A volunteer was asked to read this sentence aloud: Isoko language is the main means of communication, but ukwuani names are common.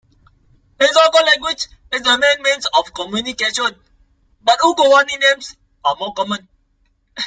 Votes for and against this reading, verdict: 0, 2, rejected